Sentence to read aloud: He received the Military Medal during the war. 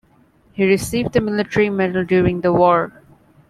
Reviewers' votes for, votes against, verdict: 2, 0, accepted